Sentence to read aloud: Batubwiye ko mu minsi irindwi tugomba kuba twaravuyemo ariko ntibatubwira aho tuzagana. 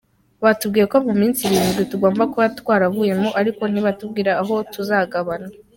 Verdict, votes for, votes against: accepted, 2, 0